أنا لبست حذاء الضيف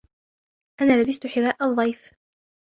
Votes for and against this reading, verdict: 2, 0, accepted